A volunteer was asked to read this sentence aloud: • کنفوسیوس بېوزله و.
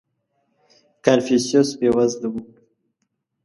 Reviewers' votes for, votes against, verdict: 2, 0, accepted